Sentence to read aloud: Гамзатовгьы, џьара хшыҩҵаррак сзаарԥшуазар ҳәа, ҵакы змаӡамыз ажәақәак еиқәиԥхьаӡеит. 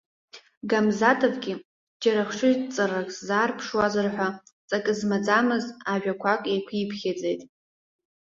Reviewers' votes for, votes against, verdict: 2, 0, accepted